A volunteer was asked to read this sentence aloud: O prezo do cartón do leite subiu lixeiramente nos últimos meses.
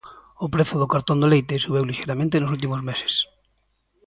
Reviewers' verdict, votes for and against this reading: accepted, 2, 0